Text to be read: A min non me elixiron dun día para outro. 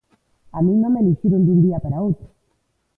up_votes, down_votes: 2, 0